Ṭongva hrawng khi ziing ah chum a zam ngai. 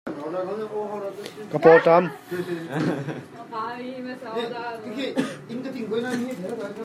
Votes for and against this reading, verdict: 0, 2, rejected